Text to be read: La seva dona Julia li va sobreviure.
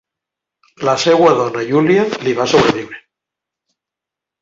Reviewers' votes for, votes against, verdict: 0, 2, rejected